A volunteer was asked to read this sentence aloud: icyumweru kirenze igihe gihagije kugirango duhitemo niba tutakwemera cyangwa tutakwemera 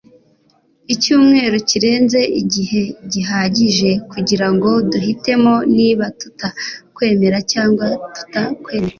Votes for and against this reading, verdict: 2, 0, accepted